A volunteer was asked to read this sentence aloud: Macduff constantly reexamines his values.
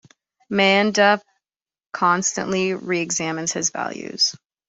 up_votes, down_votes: 0, 2